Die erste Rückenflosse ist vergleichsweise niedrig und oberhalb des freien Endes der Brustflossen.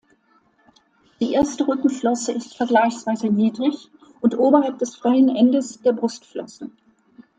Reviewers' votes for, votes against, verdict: 2, 0, accepted